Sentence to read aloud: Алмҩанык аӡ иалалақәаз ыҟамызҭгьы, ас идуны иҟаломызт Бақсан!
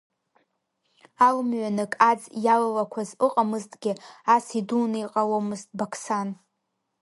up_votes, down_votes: 0, 2